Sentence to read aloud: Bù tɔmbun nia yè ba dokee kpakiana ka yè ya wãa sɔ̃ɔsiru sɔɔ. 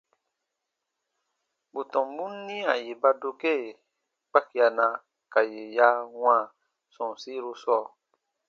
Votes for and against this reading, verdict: 2, 0, accepted